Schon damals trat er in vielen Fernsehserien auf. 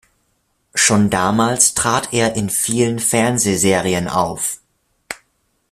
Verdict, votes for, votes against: accepted, 2, 0